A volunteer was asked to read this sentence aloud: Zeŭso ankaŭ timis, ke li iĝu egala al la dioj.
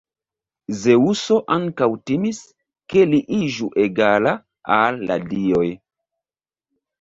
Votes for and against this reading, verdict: 1, 2, rejected